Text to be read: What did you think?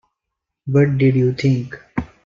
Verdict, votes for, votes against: accepted, 2, 0